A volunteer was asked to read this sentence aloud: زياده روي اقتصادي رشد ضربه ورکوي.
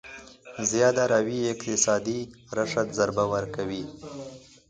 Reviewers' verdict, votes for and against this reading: rejected, 1, 2